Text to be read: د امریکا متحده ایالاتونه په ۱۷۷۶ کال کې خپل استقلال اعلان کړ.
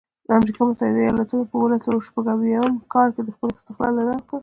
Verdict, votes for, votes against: rejected, 0, 2